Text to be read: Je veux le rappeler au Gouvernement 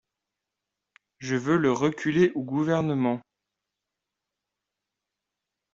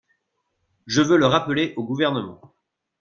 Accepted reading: second